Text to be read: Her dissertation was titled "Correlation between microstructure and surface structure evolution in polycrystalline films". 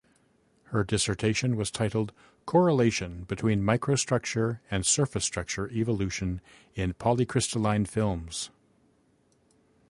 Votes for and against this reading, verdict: 2, 0, accepted